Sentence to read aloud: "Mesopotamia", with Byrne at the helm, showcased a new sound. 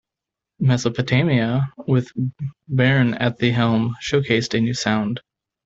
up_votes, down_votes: 1, 2